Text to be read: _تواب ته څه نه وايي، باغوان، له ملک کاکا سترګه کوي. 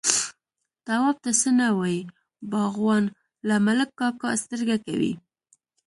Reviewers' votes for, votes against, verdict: 1, 2, rejected